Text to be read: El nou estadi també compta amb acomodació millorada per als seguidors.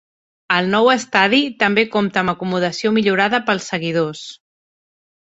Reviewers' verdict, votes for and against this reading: rejected, 1, 2